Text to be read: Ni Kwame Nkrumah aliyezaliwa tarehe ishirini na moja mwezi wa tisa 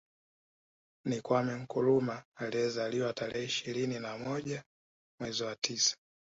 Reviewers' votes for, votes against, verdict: 2, 1, accepted